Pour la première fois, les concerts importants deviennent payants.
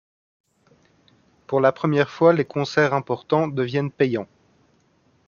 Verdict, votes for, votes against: accepted, 2, 1